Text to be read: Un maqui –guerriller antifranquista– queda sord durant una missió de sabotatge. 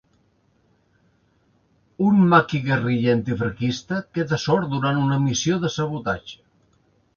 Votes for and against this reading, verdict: 2, 0, accepted